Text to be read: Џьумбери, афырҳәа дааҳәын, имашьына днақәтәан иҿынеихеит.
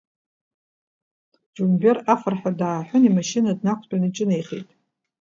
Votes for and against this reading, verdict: 2, 0, accepted